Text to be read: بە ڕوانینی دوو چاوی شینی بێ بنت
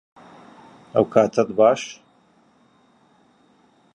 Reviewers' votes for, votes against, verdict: 0, 2, rejected